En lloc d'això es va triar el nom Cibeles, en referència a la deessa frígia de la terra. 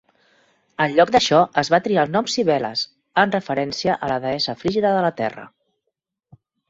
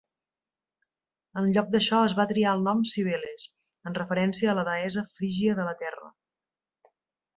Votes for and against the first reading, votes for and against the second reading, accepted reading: 0, 2, 2, 0, second